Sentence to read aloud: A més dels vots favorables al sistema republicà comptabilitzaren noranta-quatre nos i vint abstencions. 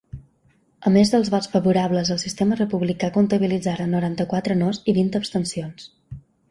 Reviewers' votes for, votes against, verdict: 2, 0, accepted